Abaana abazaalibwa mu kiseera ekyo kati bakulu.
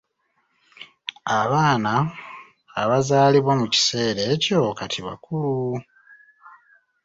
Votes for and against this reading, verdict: 0, 2, rejected